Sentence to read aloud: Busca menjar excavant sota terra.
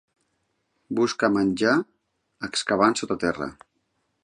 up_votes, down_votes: 2, 0